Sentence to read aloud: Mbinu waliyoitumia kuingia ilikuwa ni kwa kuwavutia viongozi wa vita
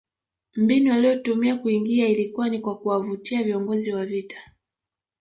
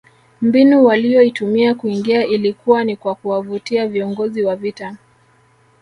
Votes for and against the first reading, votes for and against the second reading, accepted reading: 1, 2, 2, 0, second